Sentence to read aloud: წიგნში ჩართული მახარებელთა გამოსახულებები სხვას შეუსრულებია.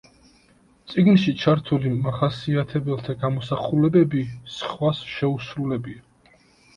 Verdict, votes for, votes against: rejected, 1, 2